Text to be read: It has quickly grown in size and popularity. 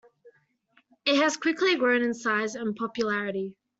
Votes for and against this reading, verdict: 2, 0, accepted